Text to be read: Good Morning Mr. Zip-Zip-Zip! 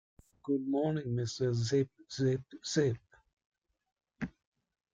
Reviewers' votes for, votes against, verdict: 2, 1, accepted